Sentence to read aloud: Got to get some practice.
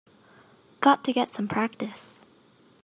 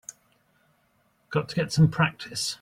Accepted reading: first